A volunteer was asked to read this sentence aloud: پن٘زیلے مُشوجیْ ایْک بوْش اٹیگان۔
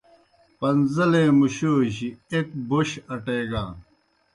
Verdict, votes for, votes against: accepted, 2, 0